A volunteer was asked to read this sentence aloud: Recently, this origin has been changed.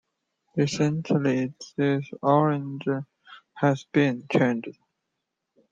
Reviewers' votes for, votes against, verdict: 1, 2, rejected